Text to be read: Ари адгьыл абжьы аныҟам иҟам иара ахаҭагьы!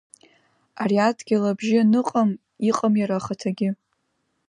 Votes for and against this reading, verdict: 2, 0, accepted